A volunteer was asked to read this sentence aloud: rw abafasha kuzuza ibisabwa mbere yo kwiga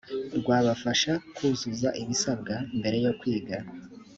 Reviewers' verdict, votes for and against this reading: accepted, 2, 0